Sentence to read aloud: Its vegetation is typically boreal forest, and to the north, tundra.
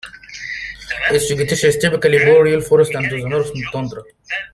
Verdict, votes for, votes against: rejected, 1, 2